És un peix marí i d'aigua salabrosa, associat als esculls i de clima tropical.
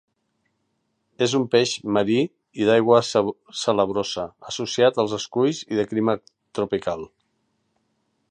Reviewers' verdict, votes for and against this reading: rejected, 1, 2